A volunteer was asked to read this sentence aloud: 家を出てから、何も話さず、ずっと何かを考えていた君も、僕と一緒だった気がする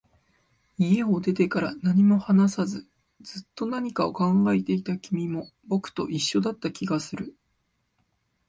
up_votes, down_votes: 2, 0